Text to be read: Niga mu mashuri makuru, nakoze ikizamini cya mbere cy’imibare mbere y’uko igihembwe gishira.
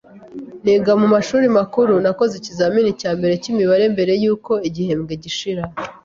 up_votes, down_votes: 2, 0